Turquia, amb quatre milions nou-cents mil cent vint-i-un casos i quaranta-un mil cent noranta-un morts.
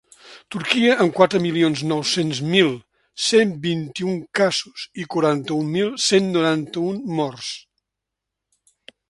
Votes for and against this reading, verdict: 2, 0, accepted